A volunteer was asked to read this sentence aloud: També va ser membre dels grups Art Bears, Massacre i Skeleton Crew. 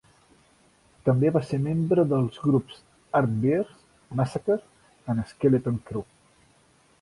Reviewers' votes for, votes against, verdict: 1, 2, rejected